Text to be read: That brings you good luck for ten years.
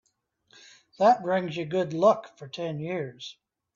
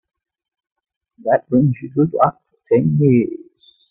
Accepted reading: first